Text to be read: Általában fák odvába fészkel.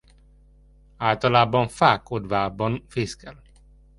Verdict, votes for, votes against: rejected, 1, 2